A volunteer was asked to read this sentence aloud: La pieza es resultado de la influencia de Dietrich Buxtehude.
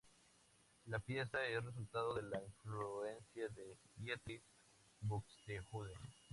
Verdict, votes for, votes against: rejected, 0, 2